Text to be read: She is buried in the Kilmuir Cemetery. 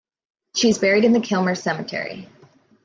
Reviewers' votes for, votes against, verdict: 2, 0, accepted